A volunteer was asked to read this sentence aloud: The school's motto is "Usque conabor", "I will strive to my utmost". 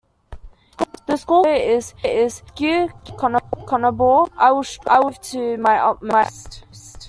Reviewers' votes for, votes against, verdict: 1, 2, rejected